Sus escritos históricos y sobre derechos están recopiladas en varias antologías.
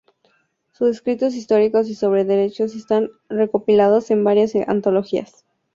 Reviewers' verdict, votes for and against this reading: rejected, 0, 2